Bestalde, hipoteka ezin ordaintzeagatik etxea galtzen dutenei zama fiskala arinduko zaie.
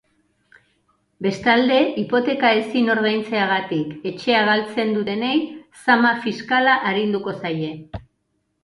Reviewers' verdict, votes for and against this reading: accepted, 2, 0